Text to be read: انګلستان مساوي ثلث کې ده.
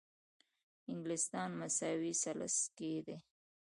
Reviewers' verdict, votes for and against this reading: accepted, 2, 0